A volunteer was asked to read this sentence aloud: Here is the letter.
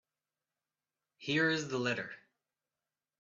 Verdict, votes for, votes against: accepted, 3, 0